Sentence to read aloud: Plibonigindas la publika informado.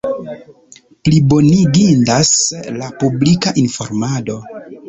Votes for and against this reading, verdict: 2, 0, accepted